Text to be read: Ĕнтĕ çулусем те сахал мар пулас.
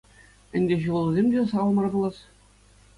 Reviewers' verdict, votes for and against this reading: accepted, 2, 0